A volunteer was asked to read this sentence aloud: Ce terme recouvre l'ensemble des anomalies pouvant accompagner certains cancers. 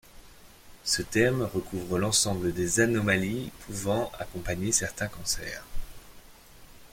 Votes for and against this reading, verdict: 0, 2, rejected